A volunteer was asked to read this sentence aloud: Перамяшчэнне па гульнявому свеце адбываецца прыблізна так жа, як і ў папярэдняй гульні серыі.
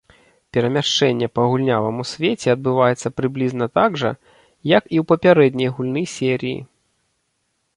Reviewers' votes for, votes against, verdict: 1, 2, rejected